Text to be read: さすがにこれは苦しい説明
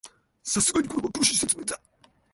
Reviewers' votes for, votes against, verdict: 0, 2, rejected